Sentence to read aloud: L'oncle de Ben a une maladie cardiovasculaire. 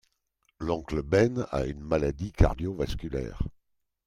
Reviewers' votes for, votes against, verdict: 1, 2, rejected